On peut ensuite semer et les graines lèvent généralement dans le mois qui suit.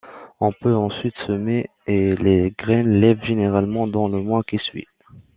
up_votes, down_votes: 0, 2